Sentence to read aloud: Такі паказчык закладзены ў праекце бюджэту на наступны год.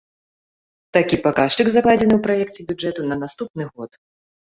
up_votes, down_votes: 2, 0